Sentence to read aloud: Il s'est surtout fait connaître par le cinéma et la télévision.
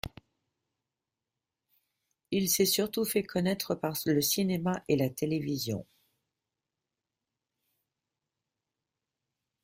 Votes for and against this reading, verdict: 2, 1, accepted